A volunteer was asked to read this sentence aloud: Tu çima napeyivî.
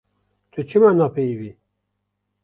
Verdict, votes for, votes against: rejected, 0, 2